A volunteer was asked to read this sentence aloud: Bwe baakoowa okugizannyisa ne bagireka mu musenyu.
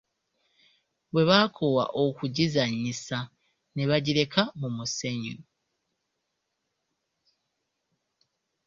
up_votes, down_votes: 2, 0